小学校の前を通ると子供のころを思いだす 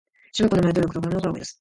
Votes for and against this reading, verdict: 0, 2, rejected